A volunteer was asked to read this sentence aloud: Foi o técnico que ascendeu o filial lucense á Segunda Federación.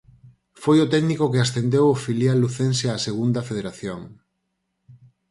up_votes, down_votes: 4, 0